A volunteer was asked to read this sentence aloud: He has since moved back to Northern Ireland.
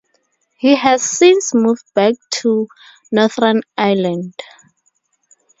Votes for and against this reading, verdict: 4, 0, accepted